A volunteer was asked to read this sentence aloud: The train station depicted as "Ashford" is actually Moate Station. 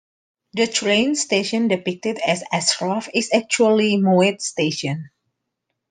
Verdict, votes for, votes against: accepted, 2, 1